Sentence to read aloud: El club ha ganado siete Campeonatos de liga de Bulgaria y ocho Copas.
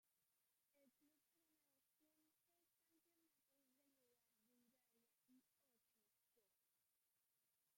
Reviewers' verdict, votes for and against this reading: rejected, 0, 2